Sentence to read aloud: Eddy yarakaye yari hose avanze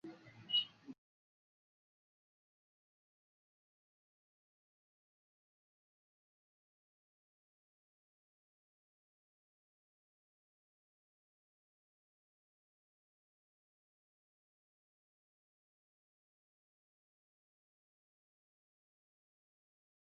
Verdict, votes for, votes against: rejected, 0, 2